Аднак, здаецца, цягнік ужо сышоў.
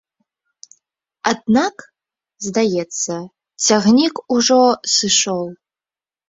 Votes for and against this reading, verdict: 2, 0, accepted